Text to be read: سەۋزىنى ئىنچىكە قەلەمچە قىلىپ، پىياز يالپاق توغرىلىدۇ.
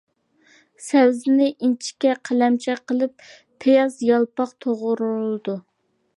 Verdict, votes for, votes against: accepted, 2, 1